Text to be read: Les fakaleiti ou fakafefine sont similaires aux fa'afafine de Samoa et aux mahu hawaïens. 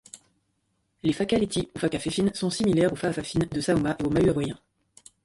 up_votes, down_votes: 1, 2